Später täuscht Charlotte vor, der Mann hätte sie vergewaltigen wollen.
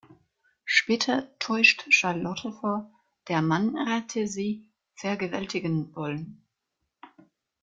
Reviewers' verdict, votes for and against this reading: rejected, 1, 2